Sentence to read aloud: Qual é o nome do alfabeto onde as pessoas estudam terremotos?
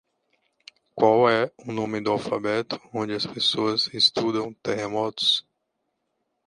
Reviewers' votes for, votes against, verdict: 2, 0, accepted